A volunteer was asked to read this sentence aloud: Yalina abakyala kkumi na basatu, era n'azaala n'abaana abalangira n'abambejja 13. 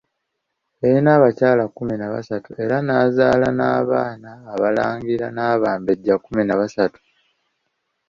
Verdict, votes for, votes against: rejected, 0, 2